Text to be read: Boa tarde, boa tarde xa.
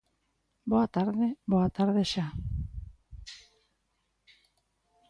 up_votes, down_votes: 2, 0